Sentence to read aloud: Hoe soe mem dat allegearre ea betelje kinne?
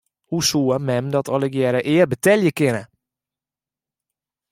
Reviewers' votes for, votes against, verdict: 2, 1, accepted